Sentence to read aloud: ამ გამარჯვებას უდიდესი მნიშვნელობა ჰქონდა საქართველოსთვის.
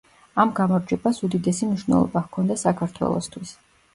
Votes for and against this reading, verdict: 2, 0, accepted